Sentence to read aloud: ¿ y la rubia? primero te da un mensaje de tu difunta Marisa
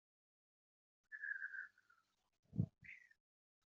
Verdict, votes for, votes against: rejected, 0, 2